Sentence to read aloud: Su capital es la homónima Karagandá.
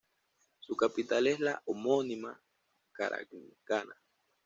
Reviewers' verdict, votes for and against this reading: rejected, 0, 2